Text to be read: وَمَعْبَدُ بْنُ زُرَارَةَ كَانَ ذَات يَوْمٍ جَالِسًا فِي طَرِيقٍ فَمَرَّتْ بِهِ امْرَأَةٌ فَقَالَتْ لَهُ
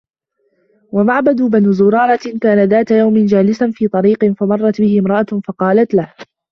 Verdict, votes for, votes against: rejected, 0, 2